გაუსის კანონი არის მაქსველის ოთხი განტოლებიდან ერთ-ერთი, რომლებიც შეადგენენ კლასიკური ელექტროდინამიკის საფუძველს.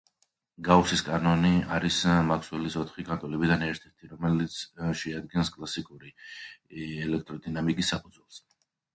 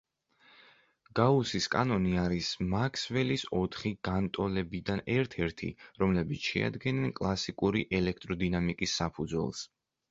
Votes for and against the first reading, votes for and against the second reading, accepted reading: 1, 2, 2, 0, second